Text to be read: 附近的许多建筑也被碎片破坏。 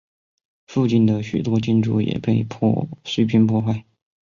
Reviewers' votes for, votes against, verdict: 2, 0, accepted